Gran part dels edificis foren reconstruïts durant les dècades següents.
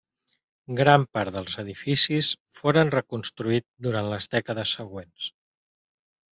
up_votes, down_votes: 0, 2